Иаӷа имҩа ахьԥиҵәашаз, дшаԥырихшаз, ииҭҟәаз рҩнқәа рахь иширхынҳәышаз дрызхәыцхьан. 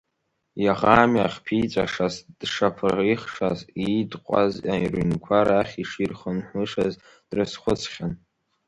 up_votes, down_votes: 1, 3